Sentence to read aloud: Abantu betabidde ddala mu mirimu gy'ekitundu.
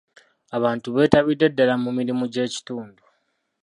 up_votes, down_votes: 2, 0